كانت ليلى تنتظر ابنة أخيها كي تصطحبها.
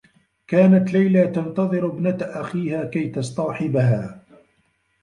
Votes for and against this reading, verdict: 1, 2, rejected